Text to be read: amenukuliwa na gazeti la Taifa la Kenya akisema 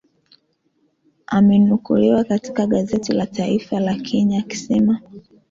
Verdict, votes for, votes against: rejected, 0, 2